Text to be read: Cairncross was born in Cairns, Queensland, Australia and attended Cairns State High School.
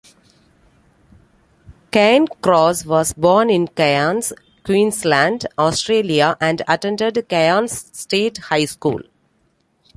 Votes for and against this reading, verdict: 2, 3, rejected